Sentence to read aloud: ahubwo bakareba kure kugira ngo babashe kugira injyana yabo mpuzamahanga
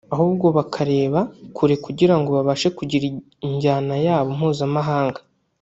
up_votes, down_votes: 1, 2